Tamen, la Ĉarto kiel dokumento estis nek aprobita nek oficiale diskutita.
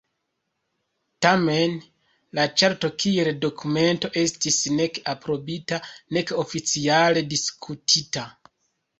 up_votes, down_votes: 2, 1